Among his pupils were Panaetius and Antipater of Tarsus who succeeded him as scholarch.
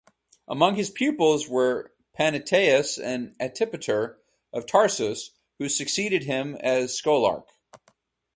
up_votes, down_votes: 2, 2